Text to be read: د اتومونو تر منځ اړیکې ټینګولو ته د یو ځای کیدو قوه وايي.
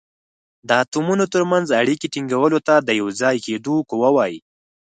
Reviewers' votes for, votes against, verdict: 4, 0, accepted